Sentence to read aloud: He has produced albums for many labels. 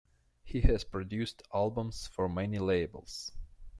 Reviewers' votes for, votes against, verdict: 2, 0, accepted